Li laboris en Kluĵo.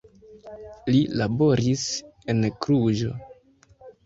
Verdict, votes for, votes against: accepted, 2, 1